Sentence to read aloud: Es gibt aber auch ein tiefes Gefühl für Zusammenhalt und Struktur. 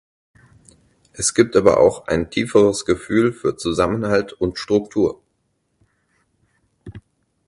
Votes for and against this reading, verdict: 0, 4, rejected